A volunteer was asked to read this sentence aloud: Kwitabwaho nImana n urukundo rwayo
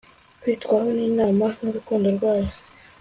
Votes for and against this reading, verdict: 2, 0, accepted